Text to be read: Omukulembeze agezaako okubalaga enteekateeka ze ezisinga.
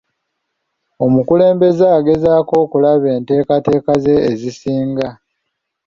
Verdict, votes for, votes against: rejected, 1, 2